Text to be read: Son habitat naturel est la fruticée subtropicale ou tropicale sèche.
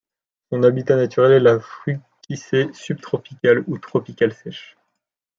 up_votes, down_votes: 0, 2